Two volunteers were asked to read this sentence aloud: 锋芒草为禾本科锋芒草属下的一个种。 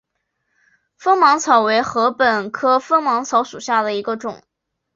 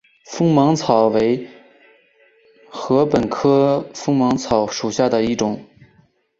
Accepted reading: first